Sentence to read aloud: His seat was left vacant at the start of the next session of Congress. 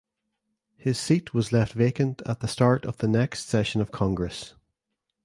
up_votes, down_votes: 2, 0